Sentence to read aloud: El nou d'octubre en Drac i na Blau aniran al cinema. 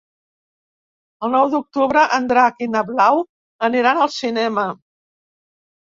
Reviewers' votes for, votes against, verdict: 3, 0, accepted